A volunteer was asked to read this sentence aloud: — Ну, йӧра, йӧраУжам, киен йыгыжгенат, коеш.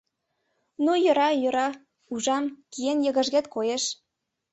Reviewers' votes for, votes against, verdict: 1, 2, rejected